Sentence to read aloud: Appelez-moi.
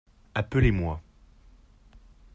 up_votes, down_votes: 2, 0